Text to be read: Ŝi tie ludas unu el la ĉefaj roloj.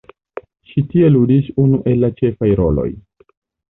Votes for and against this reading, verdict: 0, 2, rejected